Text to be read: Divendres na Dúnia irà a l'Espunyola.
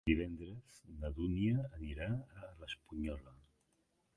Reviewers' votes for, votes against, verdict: 0, 2, rejected